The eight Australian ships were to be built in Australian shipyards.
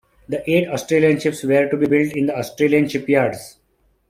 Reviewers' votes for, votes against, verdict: 1, 2, rejected